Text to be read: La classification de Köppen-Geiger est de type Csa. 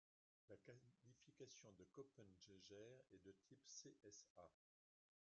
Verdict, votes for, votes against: rejected, 0, 2